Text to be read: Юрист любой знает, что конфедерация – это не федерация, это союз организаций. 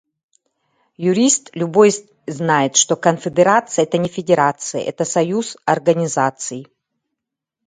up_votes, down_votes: 0, 2